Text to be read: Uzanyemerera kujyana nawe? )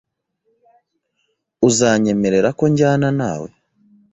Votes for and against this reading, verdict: 1, 2, rejected